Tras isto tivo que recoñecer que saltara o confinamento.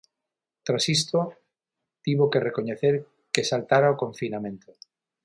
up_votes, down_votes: 6, 0